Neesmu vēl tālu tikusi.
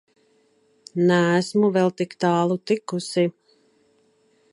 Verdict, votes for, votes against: rejected, 0, 2